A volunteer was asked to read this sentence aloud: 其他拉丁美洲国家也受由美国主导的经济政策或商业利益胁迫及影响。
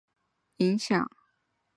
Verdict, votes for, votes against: rejected, 0, 2